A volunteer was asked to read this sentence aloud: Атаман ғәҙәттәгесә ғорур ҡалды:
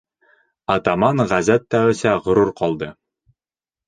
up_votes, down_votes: 1, 2